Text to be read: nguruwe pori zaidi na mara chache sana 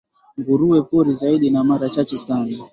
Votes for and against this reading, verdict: 3, 0, accepted